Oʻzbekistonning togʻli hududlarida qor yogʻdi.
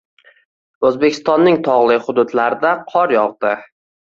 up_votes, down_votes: 2, 0